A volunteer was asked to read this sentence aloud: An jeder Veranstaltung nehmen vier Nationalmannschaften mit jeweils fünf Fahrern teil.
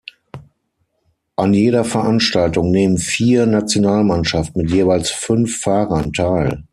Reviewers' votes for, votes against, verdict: 6, 3, accepted